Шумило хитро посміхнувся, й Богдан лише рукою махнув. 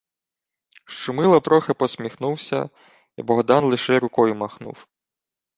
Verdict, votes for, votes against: rejected, 0, 2